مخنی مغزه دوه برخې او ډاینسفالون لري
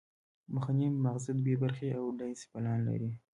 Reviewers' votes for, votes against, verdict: 0, 2, rejected